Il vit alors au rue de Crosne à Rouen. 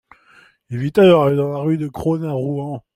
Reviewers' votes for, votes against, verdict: 2, 0, accepted